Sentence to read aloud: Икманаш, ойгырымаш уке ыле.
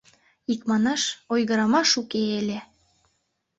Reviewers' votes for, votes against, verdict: 2, 0, accepted